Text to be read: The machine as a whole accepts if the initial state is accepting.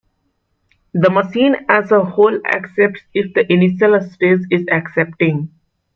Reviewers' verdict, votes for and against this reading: accepted, 2, 0